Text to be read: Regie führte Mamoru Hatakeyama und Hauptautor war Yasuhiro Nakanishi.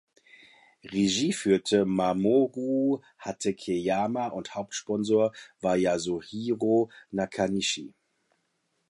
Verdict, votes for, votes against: rejected, 0, 2